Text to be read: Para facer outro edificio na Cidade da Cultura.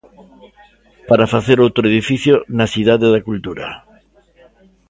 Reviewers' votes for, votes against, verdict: 0, 2, rejected